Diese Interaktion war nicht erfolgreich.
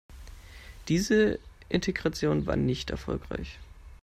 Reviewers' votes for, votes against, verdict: 0, 2, rejected